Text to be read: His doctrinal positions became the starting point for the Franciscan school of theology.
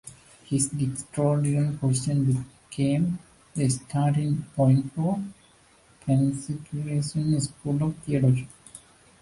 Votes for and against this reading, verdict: 1, 2, rejected